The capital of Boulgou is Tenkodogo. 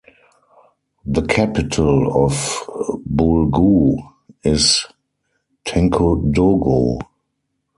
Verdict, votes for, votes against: rejected, 2, 4